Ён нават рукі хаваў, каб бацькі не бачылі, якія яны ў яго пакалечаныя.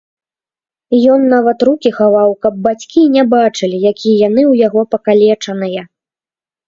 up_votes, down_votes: 0, 2